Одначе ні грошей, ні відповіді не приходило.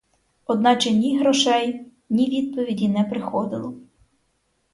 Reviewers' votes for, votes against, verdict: 0, 4, rejected